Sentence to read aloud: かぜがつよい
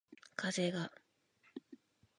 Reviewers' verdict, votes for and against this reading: rejected, 0, 2